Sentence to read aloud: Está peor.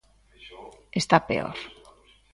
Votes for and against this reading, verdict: 2, 0, accepted